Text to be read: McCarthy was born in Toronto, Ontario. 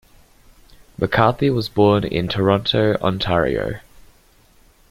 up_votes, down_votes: 2, 1